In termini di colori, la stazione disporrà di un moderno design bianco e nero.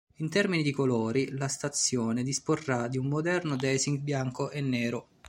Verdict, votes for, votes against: rejected, 0, 2